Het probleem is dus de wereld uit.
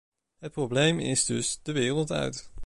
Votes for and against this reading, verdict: 2, 0, accepted